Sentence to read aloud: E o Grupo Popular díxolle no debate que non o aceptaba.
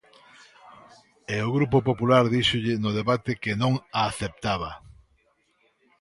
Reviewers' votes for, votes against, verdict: 0, 3, rejected